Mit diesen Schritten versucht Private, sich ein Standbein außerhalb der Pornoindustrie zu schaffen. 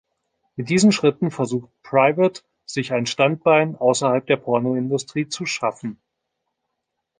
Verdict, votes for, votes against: accepted, 2, 0